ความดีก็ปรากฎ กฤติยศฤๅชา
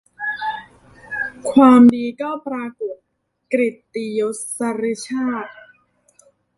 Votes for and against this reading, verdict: 0, 2, rejected